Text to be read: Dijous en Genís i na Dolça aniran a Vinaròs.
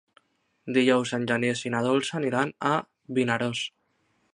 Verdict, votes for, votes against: rejected, 1, 2